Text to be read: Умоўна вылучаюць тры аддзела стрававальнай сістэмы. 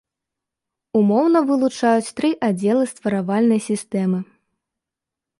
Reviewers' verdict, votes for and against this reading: rejected, 2, 3